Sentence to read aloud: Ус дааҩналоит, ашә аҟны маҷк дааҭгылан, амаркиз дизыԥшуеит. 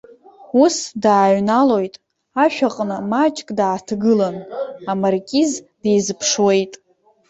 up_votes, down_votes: 1, 2